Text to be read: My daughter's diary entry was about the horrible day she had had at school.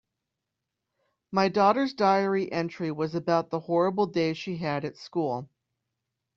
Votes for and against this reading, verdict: 1, 2, rejected